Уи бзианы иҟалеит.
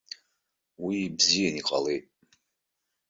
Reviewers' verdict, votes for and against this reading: accepted, 2, 1